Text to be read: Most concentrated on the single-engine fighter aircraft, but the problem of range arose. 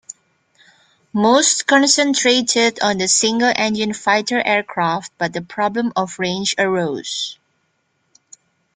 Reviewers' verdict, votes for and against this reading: accepted, 2, 0